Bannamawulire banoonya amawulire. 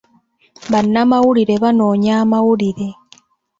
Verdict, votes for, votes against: accepted, 2, 0